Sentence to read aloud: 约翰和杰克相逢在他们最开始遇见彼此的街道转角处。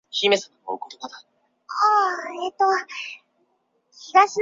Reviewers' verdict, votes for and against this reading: rejected, 1, 3